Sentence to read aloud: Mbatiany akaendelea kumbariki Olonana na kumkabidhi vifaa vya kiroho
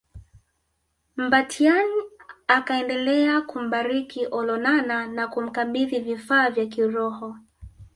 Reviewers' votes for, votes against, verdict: 3, 1, accepted